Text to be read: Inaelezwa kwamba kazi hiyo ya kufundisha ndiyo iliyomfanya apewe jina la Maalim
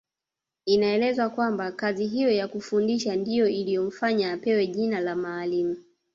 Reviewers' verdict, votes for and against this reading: rejected, 1, 2